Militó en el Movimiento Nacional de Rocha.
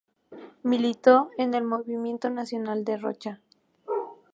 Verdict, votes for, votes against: accepted, 2, 0